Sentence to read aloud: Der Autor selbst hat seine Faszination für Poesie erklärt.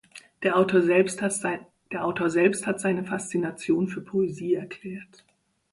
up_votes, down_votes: 1, 2